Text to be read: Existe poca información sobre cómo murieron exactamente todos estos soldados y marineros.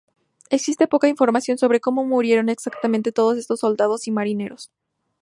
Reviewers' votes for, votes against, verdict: 2, 0, accepted